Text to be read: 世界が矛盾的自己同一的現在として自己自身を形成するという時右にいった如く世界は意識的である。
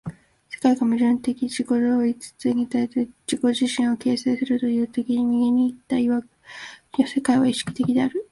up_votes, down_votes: 1, 3